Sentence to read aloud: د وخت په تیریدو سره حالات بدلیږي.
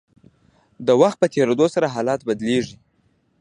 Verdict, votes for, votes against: accepted, 2, 0